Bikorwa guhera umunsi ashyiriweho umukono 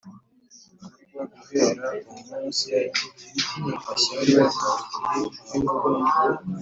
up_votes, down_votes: 0, 2